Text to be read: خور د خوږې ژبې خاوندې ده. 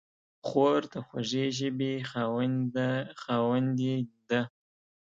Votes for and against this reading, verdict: 1, 3, rejected